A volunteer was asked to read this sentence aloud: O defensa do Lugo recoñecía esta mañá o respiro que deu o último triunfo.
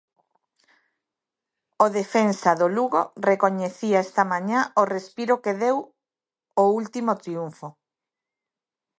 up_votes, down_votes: 2, 0